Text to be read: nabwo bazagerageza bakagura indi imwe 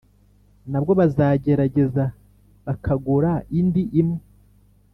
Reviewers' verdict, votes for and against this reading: accepted, 2, 0